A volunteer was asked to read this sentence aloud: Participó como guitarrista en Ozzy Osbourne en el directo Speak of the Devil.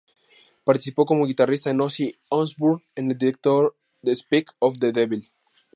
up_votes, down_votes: 2, 0